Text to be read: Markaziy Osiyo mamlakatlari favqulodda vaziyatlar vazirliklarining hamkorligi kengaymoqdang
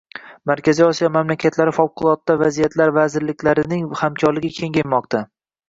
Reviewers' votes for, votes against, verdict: 0, 2, rejected